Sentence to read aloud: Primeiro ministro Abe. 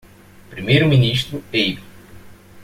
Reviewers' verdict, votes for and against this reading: accepted, 2, 0